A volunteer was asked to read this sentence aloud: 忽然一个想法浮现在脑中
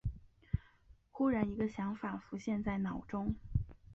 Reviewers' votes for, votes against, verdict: 2, 0, accepted